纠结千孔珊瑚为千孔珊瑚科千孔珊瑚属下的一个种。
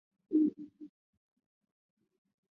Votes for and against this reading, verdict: 0, 4, rejected